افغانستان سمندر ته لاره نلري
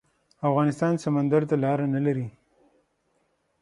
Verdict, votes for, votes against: accepted, 6, 0